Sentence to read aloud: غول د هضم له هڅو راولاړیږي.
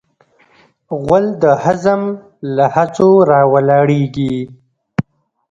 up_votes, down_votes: 1, 2